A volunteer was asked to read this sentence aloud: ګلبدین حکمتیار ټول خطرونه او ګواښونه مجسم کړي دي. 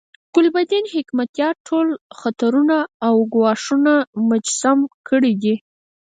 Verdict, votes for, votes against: accepted, 4, 0